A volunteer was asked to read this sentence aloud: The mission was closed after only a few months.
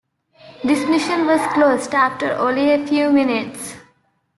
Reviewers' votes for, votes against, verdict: 0, 2, rejected